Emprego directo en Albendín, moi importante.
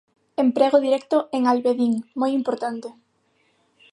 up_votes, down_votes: 0, 6